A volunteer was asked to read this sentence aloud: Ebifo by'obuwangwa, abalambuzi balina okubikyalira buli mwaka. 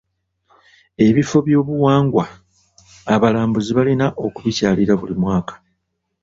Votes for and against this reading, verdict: 2, 0, accepted